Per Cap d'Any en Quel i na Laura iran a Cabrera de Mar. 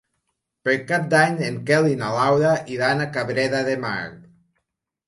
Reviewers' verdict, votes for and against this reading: accepted, 2, 0